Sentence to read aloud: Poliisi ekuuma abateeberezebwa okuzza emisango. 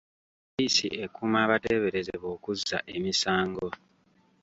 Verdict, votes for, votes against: accepted, 2, 0